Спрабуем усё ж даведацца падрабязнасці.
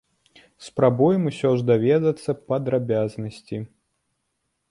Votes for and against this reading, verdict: 2, 0, accepted